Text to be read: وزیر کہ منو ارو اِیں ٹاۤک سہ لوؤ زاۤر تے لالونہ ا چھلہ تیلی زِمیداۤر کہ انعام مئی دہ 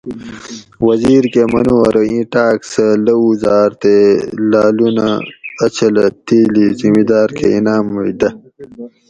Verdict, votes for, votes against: accepted, 2, 0